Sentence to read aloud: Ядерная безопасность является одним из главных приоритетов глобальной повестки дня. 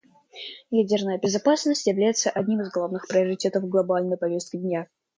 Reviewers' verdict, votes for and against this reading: accepted, 2, 0